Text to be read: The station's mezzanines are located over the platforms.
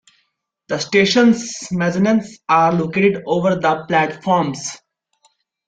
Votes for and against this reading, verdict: 0, 2, rejected